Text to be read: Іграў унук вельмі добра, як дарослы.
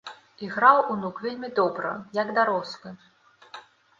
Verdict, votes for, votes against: accepted, 2, 1